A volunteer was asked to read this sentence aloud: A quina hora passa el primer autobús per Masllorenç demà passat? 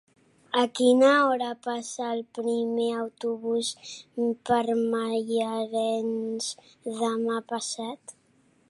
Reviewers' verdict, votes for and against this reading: rejected, 0, 2